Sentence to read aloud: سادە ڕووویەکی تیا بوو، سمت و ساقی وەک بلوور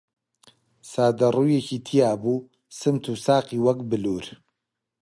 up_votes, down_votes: 3, 0